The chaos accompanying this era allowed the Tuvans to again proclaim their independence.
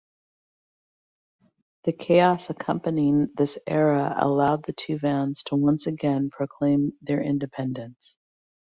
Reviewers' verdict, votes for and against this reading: rejected, 1, 2